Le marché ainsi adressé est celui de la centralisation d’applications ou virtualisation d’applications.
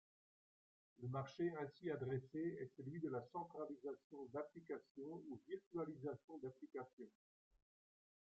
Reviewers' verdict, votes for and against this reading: accepted, 2, 0